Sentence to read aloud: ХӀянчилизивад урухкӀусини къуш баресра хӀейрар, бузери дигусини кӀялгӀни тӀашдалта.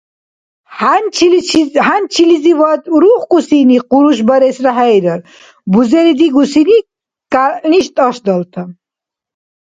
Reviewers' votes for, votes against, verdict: 0, 2, rejected